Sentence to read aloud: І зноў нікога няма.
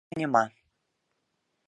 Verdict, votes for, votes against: rejected, 1, 2